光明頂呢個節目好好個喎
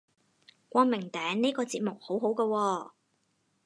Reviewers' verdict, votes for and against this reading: accepted, 4, 0